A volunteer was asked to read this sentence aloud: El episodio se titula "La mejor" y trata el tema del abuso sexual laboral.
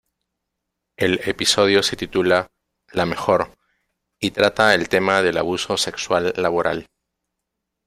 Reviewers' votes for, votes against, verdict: 2, 1, accepted